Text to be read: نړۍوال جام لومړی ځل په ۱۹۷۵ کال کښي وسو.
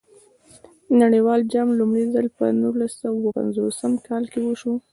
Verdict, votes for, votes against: rejected, 0, 2